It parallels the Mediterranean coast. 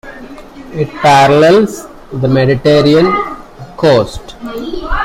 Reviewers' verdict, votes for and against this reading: rejected, 0, 2